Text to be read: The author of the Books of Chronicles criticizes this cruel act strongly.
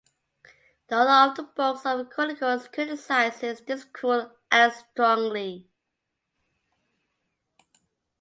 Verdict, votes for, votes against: accepted, 2, 1